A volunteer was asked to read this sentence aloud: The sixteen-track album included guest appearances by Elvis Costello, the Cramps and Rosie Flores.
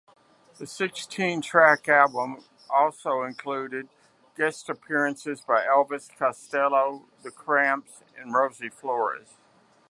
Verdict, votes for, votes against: rejected, 0, 2